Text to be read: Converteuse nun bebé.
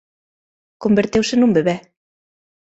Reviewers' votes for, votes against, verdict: 2, 0, accepted